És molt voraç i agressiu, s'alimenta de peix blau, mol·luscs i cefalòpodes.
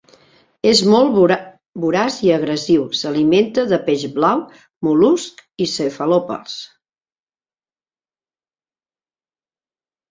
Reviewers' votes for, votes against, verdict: 0, 2, rejected